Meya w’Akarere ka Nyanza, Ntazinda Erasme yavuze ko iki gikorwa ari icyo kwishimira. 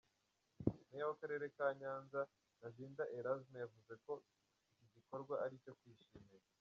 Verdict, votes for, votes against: rejected, 0, 3